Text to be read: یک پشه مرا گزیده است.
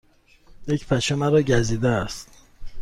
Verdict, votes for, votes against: accepted, 3, 0